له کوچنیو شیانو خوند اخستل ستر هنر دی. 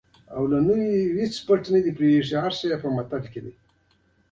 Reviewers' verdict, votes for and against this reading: rejected, 1, 2